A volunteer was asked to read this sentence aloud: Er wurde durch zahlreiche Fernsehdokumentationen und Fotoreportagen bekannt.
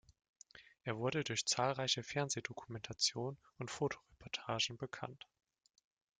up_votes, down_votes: 0, 2